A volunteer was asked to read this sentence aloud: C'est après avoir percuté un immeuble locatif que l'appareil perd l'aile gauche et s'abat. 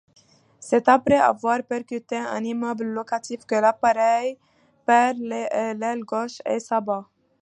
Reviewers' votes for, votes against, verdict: 2, 1, accepted